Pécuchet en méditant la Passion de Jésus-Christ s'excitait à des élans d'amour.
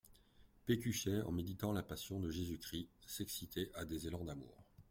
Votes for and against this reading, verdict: 2, 0, accepted